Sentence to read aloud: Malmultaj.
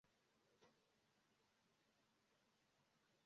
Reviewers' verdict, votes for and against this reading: rejected, 1, 2